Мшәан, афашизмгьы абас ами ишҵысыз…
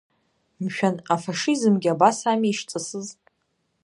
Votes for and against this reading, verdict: 1, 2, rejected